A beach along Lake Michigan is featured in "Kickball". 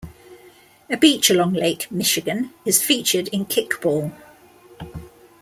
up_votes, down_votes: 2, 0